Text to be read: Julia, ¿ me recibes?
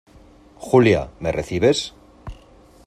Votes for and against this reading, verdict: 2, 0, accepted